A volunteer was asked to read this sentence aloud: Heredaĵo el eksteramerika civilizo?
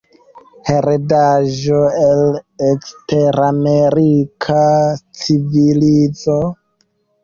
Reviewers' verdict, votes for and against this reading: rejected, 1, 2